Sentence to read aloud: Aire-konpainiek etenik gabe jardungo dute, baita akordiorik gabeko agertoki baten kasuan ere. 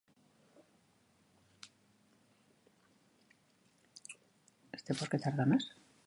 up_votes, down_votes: 1, 2